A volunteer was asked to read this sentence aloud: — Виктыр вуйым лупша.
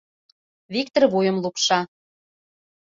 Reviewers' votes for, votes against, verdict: 2, 0, accepted